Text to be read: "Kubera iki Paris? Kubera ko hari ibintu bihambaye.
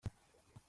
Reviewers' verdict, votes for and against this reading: rejected, 1, 2